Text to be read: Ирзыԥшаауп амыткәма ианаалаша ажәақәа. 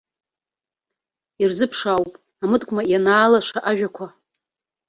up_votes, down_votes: 0, 2